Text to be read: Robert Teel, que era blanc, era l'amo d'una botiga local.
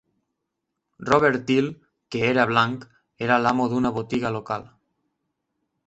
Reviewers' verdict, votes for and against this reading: accepted, 2, 0